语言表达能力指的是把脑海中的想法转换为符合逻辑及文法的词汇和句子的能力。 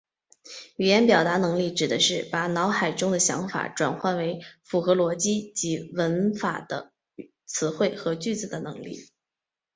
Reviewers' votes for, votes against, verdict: 2, 0, accepted